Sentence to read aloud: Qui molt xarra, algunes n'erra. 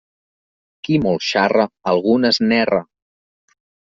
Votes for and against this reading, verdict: 3, 0, accepted